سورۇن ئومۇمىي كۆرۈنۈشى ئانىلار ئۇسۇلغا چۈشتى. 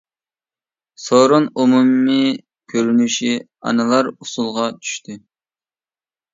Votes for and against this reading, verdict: 2, 0, accepted